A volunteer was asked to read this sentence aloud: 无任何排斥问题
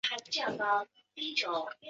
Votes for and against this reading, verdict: 0, 4, rejected